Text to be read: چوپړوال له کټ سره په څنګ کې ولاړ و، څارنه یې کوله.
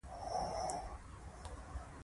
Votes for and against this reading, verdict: 1, 2, rejected